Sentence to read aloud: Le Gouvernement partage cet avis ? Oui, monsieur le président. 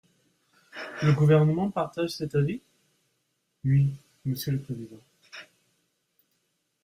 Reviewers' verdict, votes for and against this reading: accepted, 2, 0